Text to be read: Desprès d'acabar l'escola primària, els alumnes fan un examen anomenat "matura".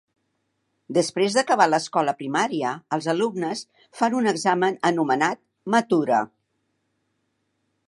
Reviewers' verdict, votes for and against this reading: accepted, 3, 0